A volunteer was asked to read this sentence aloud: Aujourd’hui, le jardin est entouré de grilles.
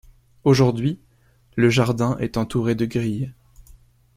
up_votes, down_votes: 3, 0